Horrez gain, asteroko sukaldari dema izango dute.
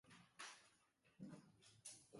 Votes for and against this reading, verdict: 0, 3, rejected